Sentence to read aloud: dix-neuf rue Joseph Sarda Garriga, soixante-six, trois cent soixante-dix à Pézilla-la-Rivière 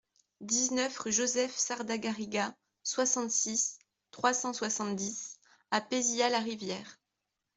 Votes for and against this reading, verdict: 2, 0, accepted